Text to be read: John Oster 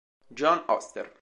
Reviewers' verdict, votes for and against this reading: accepted, 2, 0